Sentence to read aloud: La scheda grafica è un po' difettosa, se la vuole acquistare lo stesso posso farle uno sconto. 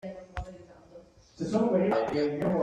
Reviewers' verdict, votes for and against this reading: rejected, 0, 2